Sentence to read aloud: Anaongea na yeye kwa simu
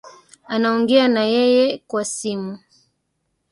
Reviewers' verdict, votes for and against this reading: rejected, 1, 2